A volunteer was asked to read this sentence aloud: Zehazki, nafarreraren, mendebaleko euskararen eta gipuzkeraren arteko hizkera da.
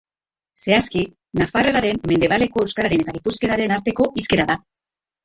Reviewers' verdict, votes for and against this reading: accepted, 2, 0